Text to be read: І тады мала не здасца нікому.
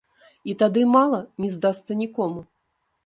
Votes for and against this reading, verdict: 0, 2, rejected